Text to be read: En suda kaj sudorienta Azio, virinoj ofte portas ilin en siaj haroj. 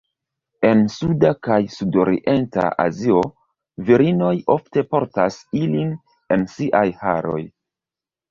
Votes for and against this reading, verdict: 2, 0, accepted